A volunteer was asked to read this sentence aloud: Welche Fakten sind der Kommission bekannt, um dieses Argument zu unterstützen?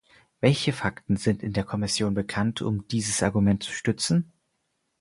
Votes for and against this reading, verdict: 0, 4, rejected